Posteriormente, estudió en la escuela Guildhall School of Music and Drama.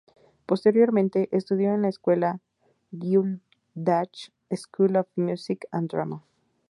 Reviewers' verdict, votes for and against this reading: rejected, 0, 2